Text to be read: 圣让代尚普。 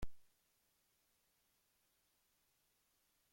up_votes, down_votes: 0, 2